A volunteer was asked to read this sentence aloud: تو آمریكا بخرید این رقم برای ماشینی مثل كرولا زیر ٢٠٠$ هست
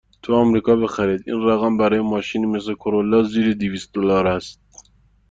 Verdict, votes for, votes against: rejected, 0, 2